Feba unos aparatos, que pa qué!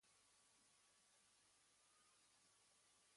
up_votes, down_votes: 1, 2